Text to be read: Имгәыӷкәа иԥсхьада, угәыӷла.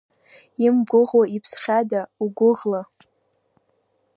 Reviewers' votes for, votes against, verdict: 0, 2, rejected